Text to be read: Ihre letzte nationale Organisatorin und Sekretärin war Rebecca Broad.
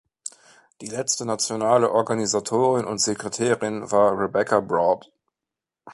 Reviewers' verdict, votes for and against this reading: rejected, 0, 2